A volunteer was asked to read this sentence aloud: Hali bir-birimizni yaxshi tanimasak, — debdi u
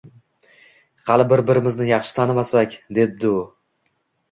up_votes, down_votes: 2, 0